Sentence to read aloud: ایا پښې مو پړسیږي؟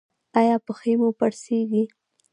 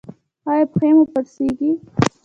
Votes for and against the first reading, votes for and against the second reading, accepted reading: 2, 0, 1, 2, first